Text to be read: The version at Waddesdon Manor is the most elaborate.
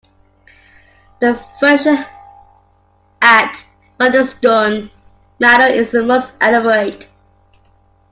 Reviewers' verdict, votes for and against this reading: rejected, 0, 2